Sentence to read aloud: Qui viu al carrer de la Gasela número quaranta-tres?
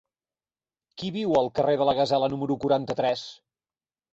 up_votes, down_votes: 4, 2